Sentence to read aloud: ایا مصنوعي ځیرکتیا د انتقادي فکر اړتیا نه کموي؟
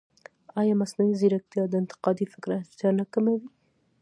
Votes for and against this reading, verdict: 1, 2, rejected